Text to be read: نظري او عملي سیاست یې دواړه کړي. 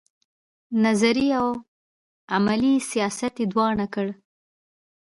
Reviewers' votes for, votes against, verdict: 1, 2, rejected